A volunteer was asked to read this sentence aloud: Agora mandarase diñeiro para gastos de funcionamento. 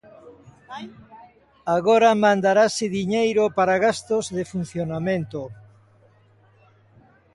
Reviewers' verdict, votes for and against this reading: accepted, 2, 0